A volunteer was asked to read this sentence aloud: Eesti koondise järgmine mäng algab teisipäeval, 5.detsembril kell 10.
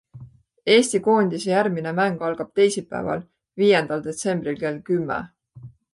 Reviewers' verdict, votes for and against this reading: rejected, 0, 2